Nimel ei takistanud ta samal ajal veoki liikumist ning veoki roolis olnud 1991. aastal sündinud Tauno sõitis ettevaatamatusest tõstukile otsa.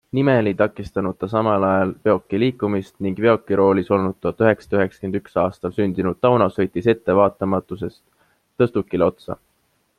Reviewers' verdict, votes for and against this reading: rejected, 0, 2